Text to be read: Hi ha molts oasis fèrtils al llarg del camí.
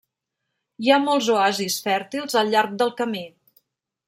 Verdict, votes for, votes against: accepted, 3, 0